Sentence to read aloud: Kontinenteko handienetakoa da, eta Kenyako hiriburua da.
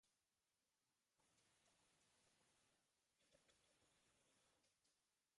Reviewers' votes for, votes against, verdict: 0, 2, rejected